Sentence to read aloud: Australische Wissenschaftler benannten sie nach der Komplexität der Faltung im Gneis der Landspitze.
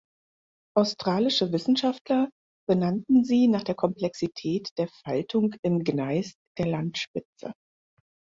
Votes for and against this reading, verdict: 4, 0, accepted